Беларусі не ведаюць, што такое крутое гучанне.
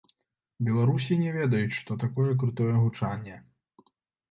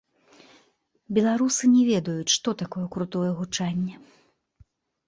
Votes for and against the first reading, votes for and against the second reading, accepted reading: 2, 0, 1, 2, first